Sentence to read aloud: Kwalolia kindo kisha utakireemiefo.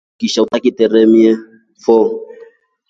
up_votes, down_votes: 2, 3